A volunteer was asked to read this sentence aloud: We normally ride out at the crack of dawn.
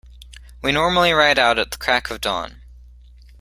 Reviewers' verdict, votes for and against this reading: accepted, 2, 0